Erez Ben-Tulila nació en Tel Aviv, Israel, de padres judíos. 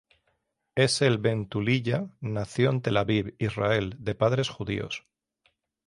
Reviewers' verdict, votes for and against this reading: rejected, 3, 3